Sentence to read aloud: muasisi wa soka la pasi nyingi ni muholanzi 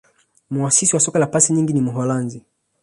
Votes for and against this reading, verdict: 1, 2, rejected